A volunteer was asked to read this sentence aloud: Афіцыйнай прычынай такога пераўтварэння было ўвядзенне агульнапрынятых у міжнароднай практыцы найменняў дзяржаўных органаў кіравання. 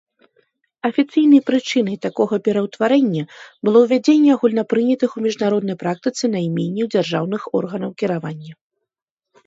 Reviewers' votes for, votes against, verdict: 2, 0, accepted